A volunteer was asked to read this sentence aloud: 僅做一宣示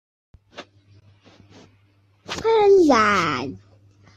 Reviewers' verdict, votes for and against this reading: rejected, 0, 2